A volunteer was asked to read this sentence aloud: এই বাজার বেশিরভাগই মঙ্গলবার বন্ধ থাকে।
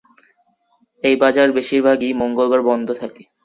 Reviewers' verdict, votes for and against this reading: accepted, 3, 1